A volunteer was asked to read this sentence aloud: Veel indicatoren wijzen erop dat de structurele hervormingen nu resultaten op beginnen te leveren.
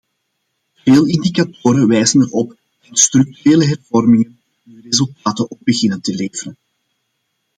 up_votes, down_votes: 1, 2